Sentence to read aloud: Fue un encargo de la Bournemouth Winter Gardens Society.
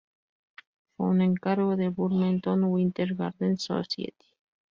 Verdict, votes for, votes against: rejected, 0, 2